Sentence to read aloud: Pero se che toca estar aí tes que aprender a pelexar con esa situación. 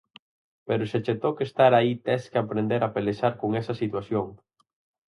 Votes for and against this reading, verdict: 4, 0, accepted